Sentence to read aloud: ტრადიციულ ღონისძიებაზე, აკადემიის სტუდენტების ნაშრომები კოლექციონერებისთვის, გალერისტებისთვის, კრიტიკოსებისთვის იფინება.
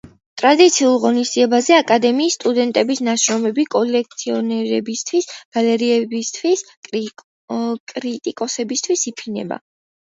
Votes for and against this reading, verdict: 0, 2, rejected